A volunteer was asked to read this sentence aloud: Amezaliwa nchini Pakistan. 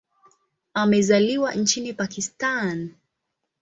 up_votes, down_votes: 2, 0